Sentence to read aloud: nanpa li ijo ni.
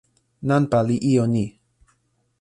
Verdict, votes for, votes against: accepted, 2, 0